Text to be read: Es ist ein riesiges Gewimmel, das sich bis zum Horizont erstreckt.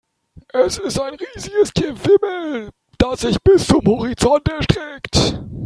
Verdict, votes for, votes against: rejected, 1, 2